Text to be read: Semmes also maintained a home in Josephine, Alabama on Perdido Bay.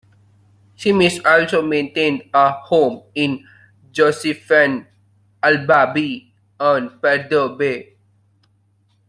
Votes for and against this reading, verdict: 0, 2, rejected